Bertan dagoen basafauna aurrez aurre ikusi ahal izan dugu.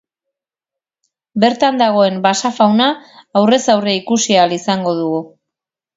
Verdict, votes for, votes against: rejected, 0, 4